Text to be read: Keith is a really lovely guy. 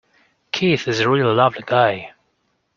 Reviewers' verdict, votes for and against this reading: accepted, 2, 1